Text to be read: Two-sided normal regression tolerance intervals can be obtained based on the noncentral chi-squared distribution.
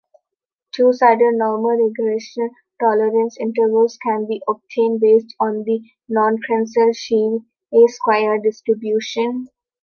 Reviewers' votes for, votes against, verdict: 0, 3, rejected